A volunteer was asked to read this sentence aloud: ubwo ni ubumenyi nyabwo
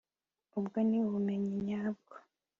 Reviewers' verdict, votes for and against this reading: accepted, 2, 0